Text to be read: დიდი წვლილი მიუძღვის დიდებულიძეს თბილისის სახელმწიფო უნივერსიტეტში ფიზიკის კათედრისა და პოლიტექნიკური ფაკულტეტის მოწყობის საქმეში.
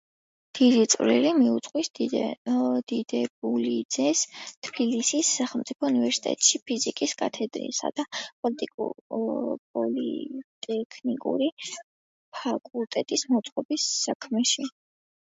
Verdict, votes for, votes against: rejected, 1, 2